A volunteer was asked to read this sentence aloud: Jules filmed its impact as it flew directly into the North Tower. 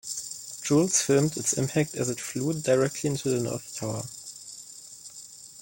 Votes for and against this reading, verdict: 2, 0, accepted